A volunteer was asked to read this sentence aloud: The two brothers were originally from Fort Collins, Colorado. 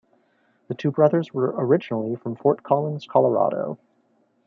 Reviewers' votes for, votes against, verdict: 2, 0, accepted